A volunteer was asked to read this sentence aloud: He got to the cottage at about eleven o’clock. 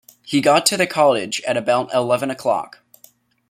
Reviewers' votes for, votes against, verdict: 1, 2, rejected